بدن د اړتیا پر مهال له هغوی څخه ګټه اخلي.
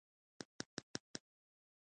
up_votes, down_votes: 1, 2